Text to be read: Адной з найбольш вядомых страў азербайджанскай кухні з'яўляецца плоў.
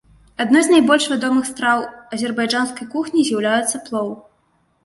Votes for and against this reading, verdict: 2, 0, accepted